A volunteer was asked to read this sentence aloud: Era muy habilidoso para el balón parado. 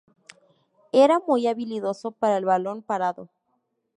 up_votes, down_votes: 2, 0